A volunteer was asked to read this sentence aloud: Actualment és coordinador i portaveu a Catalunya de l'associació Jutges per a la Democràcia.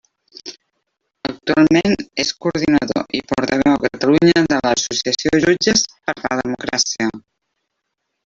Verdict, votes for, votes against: rejected, 1, 2